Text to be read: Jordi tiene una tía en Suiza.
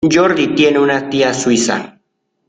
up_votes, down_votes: 0, 2